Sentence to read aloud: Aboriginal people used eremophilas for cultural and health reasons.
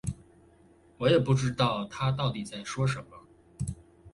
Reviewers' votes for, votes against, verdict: 0, 2, rejected